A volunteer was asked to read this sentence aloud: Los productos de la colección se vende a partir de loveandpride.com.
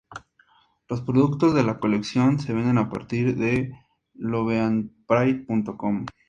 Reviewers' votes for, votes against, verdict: 4, 0, accepted